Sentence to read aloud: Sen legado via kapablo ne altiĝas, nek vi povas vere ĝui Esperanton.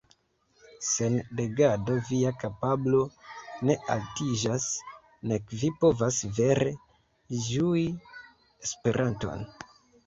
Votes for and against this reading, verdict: 2, 0, accepted